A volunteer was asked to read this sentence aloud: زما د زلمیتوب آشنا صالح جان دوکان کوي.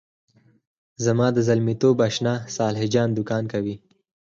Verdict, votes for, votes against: rejected, 2, 4